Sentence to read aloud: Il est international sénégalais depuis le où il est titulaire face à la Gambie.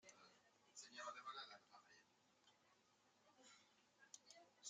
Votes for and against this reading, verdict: 0, 2, rejected